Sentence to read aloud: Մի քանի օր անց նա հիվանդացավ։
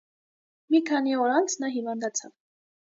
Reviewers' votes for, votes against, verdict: 2, 0, accepted